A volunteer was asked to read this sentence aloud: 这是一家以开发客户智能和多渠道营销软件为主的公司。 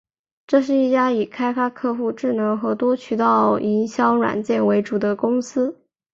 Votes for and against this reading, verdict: 6, 0, accepted